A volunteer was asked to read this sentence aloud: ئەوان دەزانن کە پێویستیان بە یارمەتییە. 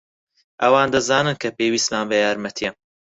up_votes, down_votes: 2, 4